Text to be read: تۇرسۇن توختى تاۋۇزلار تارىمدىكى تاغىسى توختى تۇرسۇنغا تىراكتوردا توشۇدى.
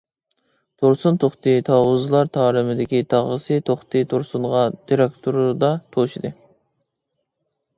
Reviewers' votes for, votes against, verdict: 1, 2, rejected